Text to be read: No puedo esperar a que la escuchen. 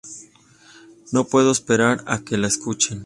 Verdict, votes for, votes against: accepted, 2, 0